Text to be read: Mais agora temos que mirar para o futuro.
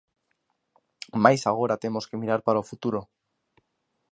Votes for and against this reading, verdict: 2, 0, accepted